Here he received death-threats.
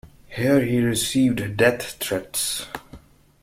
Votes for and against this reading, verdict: 2, 0, accepted